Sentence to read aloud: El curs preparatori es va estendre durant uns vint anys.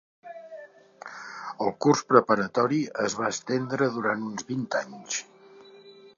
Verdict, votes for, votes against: accepted, 2, 1